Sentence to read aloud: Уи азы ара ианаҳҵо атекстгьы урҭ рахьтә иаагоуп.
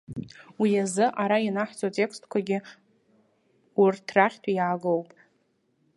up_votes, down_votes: 1, 2